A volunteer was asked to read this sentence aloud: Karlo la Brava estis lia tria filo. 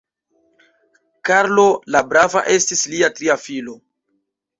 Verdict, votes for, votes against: rejected, 1, 2